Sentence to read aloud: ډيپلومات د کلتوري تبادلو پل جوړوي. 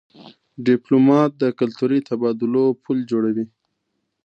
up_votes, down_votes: 2, 0